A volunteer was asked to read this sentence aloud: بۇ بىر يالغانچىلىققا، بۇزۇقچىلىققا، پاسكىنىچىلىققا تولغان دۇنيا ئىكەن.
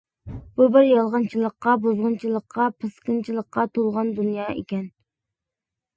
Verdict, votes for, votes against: rejected, 0, 2